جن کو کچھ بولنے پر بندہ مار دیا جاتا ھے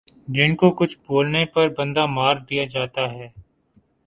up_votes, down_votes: 14, 1